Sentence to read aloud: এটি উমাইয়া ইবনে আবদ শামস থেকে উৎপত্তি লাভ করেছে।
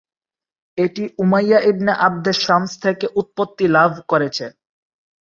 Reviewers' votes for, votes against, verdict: 0, 3, rejected